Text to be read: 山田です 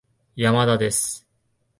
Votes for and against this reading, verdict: 2, 0, accepted